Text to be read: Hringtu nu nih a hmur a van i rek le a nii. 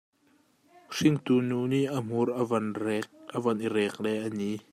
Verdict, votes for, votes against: rejected, 1, 2